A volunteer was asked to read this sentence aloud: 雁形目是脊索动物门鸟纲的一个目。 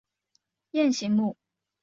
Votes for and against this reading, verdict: 0, 2, rejected